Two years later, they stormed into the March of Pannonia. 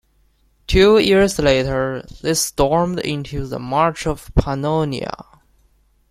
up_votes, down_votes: 2, 0